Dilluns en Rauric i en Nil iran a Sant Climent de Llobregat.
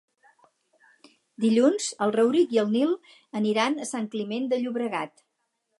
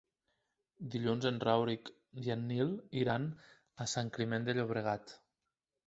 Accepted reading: second